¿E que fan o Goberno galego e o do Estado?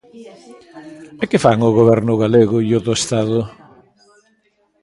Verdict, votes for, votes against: rejected, 0, 2